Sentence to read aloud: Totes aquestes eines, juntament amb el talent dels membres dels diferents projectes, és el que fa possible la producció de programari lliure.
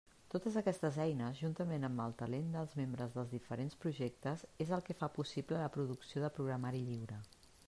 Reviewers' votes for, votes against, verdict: 2, 0, accepted